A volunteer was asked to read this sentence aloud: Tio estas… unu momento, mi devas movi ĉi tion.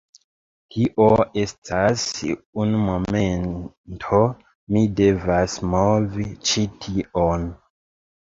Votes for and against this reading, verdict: 0, 2, rejected